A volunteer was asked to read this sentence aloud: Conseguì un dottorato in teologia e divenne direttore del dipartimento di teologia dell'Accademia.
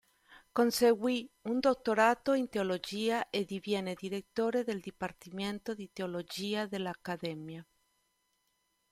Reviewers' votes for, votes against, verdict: 0, 2, rejected